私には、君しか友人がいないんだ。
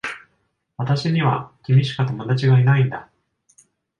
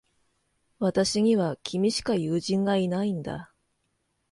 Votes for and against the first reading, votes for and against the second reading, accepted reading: 1, 2, 2, 0, second